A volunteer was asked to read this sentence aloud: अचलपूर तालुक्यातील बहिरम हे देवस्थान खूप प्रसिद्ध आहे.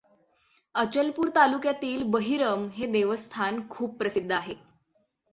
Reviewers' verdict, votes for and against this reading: accepted, 6, 0